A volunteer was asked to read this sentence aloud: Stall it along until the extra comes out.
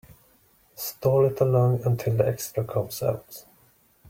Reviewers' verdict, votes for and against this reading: accepted, 2, 0